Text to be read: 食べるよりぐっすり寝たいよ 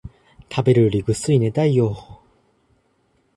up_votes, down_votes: 2, 0